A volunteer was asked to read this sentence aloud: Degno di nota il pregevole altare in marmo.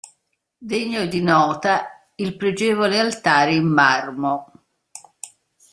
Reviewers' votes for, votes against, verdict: 2, 0, accepted